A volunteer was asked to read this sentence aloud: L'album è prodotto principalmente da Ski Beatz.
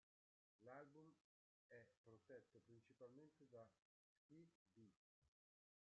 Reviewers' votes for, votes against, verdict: 0, 2, rejected